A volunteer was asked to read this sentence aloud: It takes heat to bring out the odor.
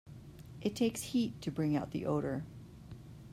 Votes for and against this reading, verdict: 2, 0, accepted